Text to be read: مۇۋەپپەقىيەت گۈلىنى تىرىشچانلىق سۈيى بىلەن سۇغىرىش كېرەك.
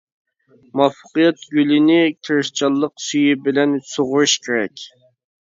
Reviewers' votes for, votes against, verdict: 0, 2, rejected